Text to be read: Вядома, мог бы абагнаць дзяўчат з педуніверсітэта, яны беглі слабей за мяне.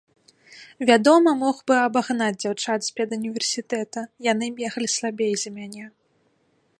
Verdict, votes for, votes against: accepted, 2, 0